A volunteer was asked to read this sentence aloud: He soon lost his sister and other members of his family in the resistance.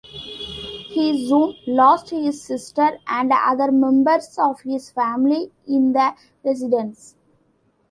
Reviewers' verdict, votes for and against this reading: rejected, 1, 2